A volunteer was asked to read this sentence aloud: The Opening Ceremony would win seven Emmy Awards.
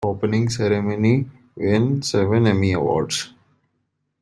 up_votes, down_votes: 1, 2